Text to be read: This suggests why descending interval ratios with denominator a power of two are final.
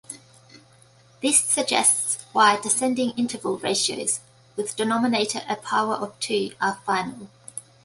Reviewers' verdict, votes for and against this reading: accepted, 3, 0